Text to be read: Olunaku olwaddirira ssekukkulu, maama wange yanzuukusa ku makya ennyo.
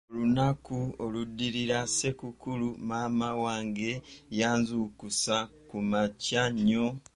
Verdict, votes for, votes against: rejected, 0, 2